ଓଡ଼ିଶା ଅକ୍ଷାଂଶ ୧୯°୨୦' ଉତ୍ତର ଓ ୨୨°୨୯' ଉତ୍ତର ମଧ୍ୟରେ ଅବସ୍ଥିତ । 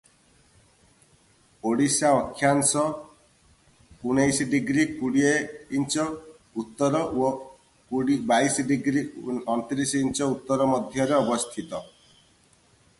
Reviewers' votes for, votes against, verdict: 0, 2, rejected